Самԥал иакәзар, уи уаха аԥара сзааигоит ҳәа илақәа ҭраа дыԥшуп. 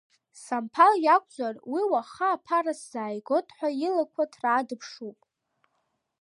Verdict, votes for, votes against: accepted, 2, 0